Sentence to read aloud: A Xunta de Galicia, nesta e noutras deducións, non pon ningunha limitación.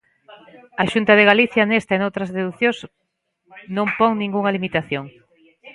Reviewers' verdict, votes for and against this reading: rejected, 1, 2